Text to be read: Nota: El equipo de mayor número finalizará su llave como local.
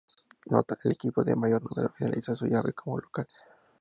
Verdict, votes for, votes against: rejected, 0, 2